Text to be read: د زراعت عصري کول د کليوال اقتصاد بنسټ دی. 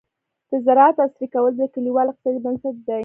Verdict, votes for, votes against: rejected, 1, 2